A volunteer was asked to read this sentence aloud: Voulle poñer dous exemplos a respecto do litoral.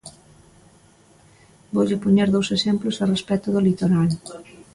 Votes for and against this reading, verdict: 2, 0, accepted